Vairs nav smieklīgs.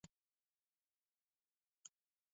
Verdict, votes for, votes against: rejected, 0, 2